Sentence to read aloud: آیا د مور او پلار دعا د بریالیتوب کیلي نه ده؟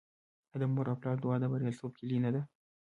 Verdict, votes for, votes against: accepted, 2, 1